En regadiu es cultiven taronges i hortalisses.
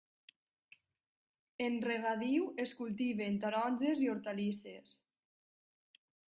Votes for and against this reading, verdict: 2, 1, accepted